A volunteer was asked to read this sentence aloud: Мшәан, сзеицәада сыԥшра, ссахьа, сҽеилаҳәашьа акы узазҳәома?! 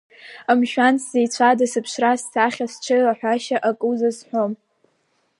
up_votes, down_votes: 3, 0